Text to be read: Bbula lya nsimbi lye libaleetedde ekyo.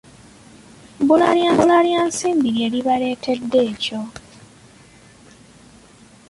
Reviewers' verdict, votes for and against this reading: rejected, 0, 2